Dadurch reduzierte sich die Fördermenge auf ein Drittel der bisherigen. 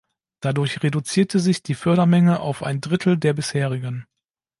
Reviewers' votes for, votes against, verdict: 2, 0, accepted